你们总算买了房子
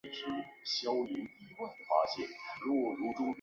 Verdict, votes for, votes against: rejected, 0, 5